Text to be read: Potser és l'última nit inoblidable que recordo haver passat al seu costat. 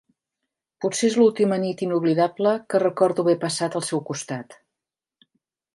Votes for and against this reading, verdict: 3, 0, accepted